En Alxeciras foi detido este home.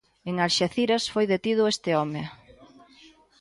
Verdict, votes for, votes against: accepted, 2, 0